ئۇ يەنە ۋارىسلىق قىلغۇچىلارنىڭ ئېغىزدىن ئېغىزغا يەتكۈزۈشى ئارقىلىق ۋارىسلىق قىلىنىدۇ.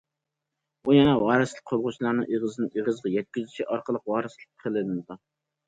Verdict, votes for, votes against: rejected, 1, 2